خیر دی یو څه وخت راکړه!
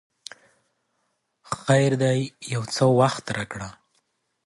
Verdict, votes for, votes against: accepted, 3, 0